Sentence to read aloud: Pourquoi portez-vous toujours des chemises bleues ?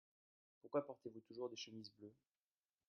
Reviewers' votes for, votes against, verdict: 1, 2, rejected